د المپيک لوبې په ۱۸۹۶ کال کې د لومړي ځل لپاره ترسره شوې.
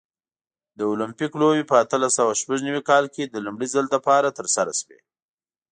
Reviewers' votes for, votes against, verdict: 0, 2, rejected